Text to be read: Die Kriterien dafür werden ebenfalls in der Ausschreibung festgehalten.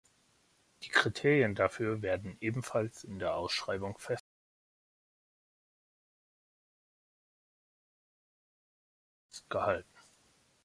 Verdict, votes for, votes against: rejected, 1, 2